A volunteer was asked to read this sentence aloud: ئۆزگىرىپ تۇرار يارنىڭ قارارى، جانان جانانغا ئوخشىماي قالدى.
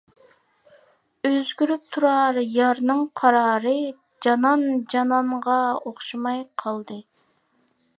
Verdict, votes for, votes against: accepted, 2, 0